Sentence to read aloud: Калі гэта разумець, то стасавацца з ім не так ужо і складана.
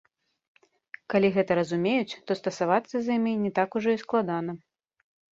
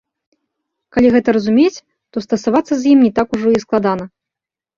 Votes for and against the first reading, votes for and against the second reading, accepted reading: 1, 2, 2, 0, second